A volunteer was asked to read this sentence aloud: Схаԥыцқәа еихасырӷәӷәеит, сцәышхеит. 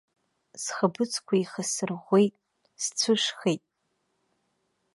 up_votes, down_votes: 3, 1